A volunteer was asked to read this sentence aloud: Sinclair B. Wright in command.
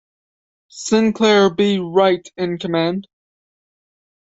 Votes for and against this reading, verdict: 2, 0, accepted